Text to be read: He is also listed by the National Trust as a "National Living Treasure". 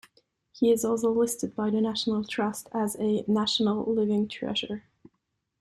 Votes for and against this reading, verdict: 2, 0, accepted